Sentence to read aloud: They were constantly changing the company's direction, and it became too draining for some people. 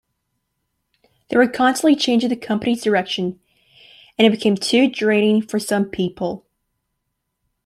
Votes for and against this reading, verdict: 2, 0, accepted